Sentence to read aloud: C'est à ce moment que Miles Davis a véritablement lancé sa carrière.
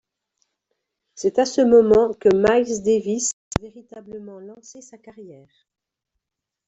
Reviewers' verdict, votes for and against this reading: rejected, 0, 2